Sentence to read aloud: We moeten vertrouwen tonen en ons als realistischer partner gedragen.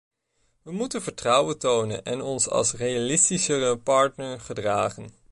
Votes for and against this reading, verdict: 1, 2, rejected